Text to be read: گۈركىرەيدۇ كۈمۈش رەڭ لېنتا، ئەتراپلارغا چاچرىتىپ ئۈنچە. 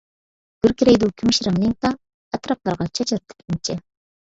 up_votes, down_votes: 1, 2